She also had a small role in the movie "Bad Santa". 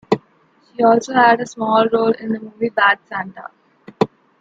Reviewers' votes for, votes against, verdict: 2, 0, accepted